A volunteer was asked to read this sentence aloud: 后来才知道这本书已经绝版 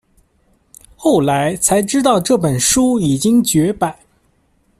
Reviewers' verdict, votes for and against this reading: accepted, 2, 0